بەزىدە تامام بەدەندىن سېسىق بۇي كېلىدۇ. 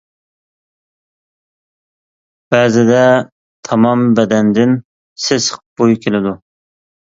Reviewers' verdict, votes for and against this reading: accepted, 2, 0